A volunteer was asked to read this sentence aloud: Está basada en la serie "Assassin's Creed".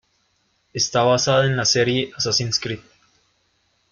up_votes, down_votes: 2, 1